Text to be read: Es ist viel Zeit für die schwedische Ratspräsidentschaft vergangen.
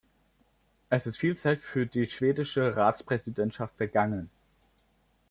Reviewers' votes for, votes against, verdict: 2, 0, accepted